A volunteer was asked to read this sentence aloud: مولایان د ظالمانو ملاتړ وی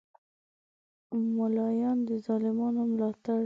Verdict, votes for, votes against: rejected, 1, 2